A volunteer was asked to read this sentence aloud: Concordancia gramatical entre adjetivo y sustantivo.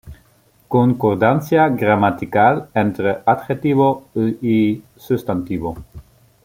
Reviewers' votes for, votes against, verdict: 0, 2, rejected